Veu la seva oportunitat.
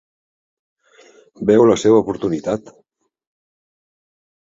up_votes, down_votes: 2, 0